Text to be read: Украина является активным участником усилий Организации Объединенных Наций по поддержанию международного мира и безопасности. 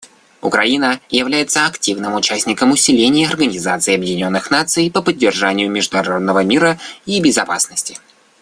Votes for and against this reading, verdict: 1, 2, rejected